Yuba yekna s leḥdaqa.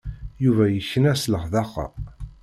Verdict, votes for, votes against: accepted, 2, 0